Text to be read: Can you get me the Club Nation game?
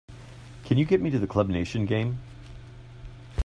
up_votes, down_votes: 2, 0